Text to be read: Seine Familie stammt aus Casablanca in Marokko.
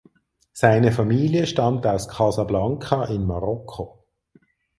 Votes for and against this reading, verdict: 4, 0, accepted